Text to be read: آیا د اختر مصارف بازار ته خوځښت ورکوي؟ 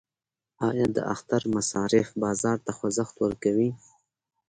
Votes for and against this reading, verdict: 2, 0, accepted